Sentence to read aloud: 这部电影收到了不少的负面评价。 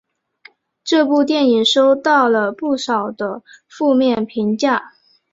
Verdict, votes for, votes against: accepted, 3, 0